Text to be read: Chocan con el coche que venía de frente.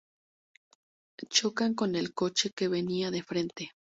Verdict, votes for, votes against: accepted, 4, 0